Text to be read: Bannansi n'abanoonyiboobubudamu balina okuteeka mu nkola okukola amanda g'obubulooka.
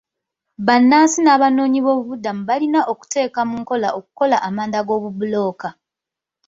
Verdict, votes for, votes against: accepted, 2, 1